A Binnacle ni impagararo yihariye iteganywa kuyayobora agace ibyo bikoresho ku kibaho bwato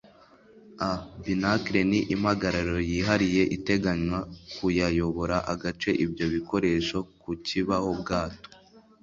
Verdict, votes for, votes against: accepted, 2, 0